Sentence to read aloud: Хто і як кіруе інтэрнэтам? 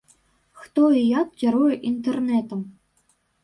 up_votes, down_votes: 2, 0